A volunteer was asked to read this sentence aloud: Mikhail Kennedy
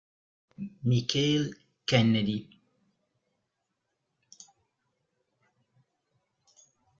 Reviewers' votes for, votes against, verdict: 0, 2, rejected